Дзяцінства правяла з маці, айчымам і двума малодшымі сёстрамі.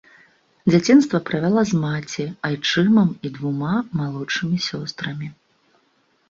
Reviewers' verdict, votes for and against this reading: accepted, 3, 0